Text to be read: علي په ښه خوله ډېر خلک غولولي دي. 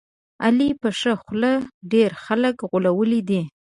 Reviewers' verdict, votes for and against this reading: accepted, 2, 0